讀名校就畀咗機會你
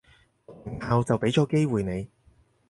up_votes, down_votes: 2, 4